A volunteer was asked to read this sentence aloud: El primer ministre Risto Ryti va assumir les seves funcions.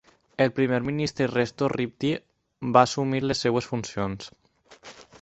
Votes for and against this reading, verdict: 0, 4, rejected